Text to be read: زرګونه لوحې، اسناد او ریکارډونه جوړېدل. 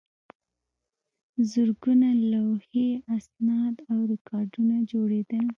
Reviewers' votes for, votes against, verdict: 0, 2, rejected